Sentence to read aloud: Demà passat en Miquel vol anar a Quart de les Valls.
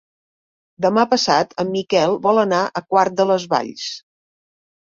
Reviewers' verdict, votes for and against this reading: accepted, 4, 0